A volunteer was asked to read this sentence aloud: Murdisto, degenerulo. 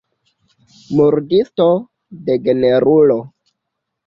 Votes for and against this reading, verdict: 2, 0, accepted